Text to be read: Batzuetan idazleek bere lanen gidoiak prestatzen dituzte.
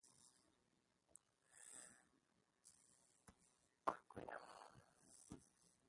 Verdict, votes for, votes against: rejected, 0, 2